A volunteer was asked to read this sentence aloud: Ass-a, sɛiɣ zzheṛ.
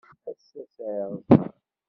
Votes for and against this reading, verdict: 1, 2, rejected